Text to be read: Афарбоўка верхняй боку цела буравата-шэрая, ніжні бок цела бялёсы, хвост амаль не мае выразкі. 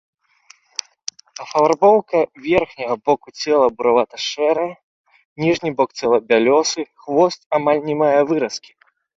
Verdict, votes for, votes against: rejected, 1, 3